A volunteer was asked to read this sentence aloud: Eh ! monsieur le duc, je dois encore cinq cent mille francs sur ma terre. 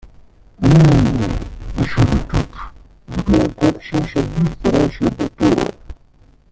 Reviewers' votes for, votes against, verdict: 0, 2, rejected